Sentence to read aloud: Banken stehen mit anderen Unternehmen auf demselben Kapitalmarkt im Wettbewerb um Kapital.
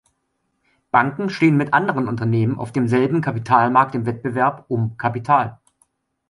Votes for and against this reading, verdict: 2, 0, accepted